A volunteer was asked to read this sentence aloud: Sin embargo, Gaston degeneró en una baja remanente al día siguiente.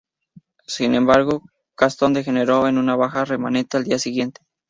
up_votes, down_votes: 2, 0